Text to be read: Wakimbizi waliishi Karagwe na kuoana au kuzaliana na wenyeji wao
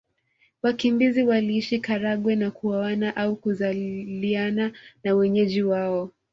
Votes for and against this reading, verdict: 0, 2, rejected